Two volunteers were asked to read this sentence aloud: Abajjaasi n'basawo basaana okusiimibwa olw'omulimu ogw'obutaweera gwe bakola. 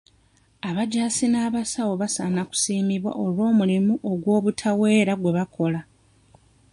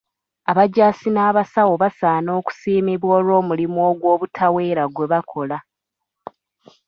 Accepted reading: second